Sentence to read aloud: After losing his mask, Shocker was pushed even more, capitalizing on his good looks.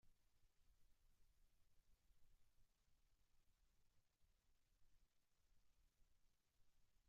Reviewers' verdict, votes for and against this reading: rejected, 0, 2